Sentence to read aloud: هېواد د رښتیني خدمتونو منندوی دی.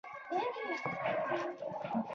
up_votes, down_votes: 0, 2